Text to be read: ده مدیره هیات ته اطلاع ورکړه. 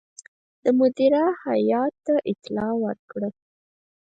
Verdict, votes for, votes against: rejected, 0, 4